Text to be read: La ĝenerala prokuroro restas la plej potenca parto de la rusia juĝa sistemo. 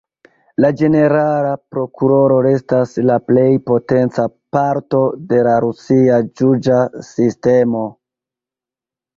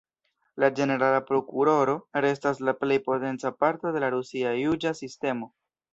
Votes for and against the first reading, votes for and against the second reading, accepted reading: 1, 2, 2, 0, second